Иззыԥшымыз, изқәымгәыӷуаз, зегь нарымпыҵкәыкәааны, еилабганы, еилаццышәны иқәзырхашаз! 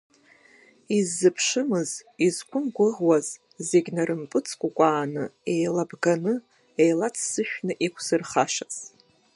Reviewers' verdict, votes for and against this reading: rejected, 0, 2